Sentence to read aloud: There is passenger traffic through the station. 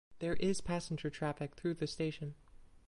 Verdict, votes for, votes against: rejected, 0, 2